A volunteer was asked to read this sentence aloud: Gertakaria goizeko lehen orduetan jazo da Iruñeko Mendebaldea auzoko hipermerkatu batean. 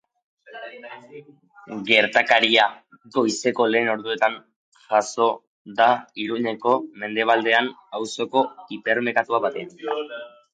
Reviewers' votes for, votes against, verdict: 0, 2, rejected